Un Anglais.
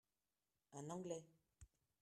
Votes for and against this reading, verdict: 1, 2, rejected